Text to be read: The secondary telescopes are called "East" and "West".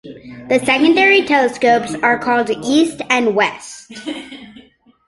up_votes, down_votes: 2, 0